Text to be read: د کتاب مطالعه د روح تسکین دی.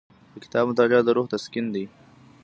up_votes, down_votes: 2, 0